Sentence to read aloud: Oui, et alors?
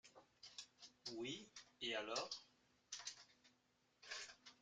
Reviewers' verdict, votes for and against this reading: accepted, 2, 0